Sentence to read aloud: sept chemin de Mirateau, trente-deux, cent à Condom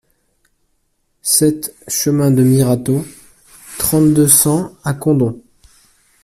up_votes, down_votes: 2, 0